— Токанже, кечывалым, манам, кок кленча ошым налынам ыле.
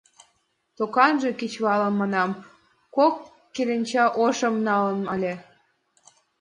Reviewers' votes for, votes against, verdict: 1, 2, rejected